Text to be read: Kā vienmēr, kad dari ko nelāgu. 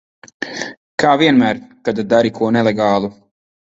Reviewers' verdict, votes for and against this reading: rejected, 0, 8